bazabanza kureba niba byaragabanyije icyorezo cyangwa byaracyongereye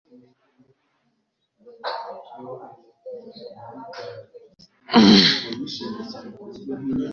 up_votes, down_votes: 2, 0